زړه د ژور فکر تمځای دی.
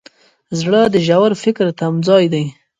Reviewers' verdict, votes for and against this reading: accepted, 3, 0